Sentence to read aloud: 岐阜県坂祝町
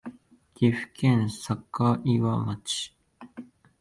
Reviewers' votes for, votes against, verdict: 2, 0, accepted